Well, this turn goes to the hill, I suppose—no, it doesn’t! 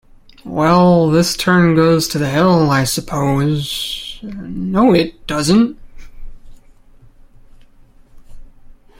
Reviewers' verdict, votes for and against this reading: rejected, 0, 2